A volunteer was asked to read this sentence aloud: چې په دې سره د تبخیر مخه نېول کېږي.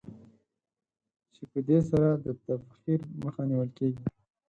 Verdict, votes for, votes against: accepted, 4, 2